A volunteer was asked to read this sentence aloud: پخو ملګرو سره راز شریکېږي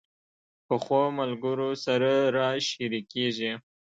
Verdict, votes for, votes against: accepted, 2, 0